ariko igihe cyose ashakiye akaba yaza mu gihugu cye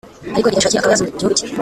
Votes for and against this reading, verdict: 1, 2, rejected